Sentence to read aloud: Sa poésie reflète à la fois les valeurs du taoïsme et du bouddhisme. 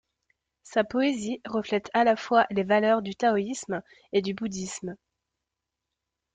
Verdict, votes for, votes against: rejected, 1, 2